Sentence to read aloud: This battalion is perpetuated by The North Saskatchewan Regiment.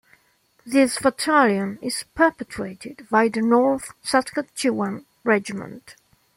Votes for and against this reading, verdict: 1, 2, rejected